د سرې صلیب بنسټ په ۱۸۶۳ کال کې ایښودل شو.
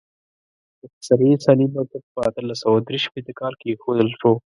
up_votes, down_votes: 0, 2